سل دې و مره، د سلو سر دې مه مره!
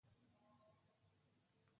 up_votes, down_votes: 1, 2